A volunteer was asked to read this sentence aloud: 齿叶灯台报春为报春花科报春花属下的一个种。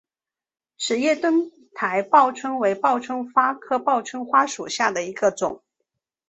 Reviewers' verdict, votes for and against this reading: accepted, 2, 0